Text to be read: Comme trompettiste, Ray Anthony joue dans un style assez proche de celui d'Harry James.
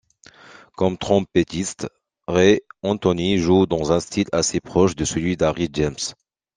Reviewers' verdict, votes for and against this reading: accepted, 2, 0